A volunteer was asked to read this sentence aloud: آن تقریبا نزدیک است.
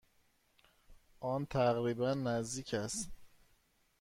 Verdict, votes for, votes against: accepted, 2, 0